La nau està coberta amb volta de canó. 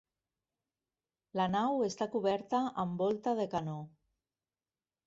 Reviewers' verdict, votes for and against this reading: accepted, 3, 0